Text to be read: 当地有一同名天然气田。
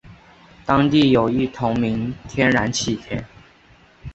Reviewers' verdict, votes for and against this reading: accepted, 3, 0